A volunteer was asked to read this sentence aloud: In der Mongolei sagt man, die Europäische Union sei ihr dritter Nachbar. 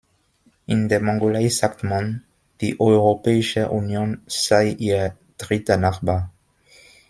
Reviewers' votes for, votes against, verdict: 2, 0, accepted